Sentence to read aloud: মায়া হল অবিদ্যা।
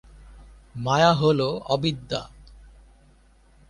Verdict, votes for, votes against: accepted, 2, 0